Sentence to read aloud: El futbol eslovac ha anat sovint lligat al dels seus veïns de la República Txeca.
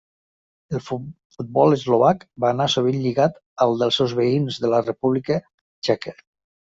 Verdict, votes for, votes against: rejected, 0, 2